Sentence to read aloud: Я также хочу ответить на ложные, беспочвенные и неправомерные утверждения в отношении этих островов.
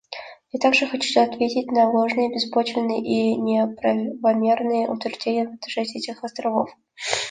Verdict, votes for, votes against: accepted, 2, 0